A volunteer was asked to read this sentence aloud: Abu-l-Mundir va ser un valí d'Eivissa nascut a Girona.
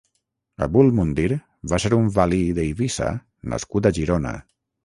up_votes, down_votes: 3, 3